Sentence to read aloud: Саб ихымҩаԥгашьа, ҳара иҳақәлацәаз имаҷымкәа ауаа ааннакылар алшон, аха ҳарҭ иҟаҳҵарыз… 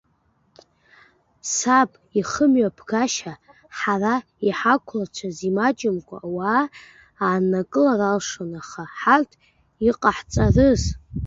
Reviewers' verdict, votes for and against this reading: rejected, 0, 2